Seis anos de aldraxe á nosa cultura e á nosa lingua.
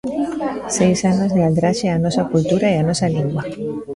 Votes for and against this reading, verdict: 1, 2, rejected